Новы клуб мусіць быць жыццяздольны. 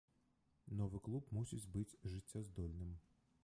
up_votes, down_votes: 1, 2